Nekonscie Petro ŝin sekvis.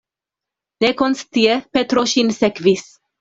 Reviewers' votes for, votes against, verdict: 2, 0, accepted